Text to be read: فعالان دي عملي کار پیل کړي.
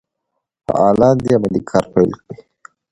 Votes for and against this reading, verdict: 2, 0, accepted